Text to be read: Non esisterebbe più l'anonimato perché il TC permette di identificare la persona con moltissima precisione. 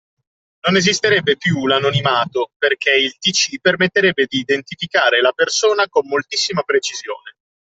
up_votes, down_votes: 1, 2